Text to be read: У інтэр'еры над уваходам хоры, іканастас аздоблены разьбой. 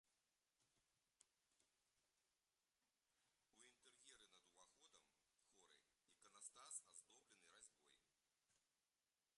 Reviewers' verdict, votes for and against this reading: rejected, 1, 3